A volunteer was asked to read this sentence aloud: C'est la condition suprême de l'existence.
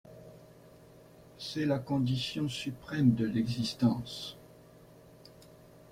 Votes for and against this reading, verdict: 2, 0, accepted